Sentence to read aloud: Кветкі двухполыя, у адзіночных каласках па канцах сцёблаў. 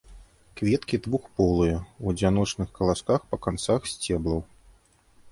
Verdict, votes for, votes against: rejected, 0, 2